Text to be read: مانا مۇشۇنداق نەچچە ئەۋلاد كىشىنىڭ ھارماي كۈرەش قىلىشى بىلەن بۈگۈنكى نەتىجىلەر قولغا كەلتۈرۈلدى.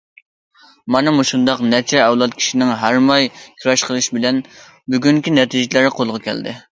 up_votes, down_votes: 0, 2